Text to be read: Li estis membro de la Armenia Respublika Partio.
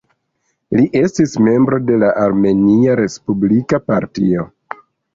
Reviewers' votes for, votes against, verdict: 0, 2, rejected